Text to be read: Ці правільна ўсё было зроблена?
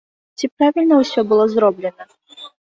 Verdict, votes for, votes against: accepted, 3, 0